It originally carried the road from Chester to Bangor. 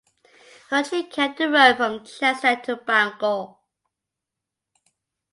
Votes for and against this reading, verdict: 0, 2, rejected